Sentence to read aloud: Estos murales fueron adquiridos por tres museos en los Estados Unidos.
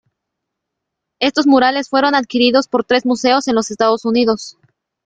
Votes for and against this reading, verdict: 2, 0, accepted